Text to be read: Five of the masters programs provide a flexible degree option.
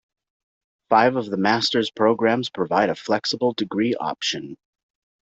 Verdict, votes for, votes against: accepted, 2, 0